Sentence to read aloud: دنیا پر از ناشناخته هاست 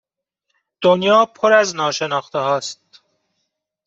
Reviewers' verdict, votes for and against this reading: accepted, 2, 0